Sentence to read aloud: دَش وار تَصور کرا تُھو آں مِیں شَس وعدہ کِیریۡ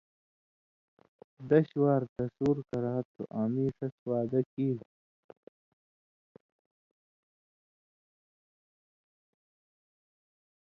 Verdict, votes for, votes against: accepted, 2, 0